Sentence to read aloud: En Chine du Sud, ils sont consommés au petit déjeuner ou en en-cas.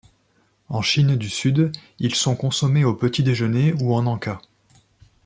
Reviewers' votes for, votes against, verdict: 2, 0, accepted